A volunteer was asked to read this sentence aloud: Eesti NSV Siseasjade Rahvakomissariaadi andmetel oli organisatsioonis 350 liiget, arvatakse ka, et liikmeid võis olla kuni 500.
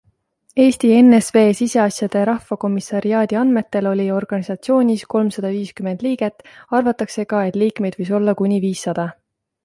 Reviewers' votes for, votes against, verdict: 0, 2, rejected